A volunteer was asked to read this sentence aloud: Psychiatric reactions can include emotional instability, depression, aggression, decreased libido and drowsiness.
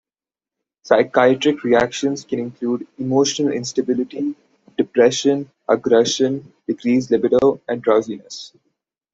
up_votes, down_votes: 1, 2